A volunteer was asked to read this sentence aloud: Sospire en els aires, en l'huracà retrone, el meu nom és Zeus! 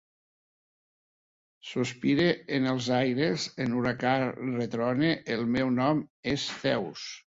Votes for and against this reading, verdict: 1, 2, rejected